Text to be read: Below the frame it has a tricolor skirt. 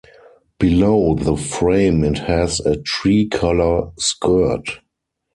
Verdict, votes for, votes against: rejected, 0, 4